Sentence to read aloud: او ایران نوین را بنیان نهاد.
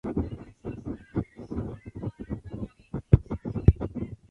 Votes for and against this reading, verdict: 0, 3, rejected